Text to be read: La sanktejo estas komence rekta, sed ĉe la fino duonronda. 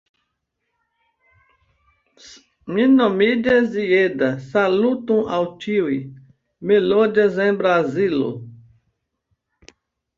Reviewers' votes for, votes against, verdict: 1, 2, rejected